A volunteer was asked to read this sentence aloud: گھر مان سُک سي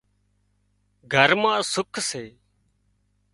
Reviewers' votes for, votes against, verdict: 2, 0, accepted